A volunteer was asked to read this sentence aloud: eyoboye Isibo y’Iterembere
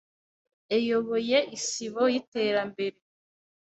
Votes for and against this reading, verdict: 1, 2, rejected